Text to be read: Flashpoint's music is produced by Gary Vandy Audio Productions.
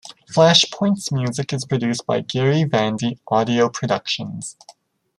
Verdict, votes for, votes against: accepted, 2, 0